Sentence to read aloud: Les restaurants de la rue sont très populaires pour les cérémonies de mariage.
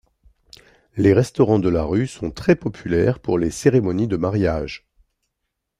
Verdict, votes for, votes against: accepted, 2, 0